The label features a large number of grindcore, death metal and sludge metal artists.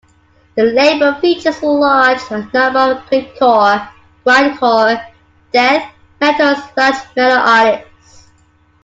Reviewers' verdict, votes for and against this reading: rejected, 0, 2